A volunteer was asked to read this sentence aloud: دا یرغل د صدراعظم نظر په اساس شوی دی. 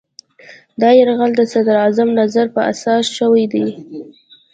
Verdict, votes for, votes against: accepted, 2, 0